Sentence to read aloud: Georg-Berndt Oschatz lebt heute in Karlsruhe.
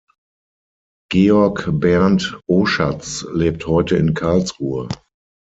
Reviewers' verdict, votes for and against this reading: accepted, 6, 0